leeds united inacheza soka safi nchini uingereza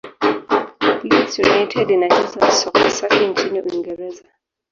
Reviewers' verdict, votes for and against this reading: rejected, 0, 2